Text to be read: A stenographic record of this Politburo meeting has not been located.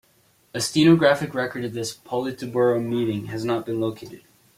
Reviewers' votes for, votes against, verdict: 2, 1, accepted